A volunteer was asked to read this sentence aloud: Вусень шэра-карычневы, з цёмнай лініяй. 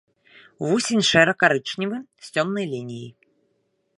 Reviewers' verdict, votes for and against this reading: accepted, 3, 0